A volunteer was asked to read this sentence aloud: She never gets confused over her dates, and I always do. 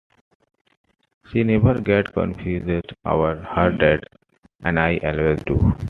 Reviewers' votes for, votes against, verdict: 2, 1, accepted